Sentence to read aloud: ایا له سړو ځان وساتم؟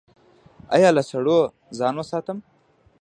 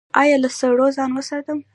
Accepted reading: first